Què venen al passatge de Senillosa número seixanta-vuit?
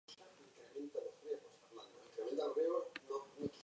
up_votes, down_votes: 0, 2